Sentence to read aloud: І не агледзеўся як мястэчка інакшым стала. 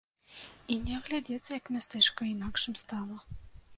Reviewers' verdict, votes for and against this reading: rejected, 0, 2